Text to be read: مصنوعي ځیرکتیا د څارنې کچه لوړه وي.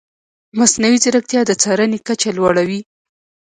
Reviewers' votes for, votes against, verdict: 0, 2, rejected